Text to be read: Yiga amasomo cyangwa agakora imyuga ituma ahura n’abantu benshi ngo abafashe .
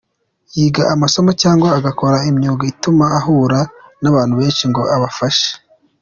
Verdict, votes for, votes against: accepted, 2, 0